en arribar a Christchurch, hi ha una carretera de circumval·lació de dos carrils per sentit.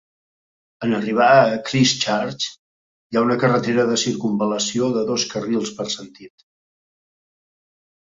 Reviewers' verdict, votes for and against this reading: accepted, 3, 0